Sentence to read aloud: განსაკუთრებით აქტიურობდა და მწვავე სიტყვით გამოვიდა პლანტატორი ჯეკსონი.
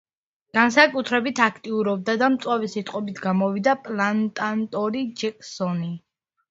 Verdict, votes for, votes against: accepted, 2, 0